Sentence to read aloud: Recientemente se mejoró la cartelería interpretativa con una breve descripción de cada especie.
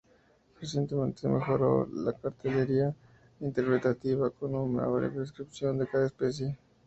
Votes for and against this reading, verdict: 0, 2, rejected